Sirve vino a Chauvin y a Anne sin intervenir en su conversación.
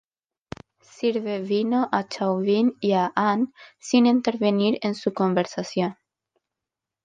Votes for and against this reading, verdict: 2, 0, accepted